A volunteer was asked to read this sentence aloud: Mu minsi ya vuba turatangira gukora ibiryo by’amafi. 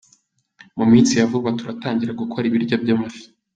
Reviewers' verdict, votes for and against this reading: accepted, 3, 0